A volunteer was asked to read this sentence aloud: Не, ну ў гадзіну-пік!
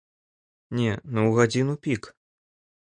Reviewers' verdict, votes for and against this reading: accepted, 2, 0